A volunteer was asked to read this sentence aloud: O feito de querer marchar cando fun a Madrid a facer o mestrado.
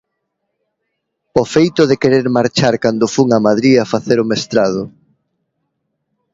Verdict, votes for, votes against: accepted, 2, 0